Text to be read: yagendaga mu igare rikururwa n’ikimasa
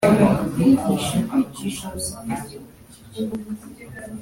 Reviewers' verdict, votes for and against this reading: rejected, 1, 2